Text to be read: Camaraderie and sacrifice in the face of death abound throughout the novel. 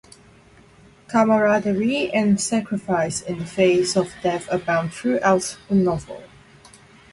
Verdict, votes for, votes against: rejected, 2, 2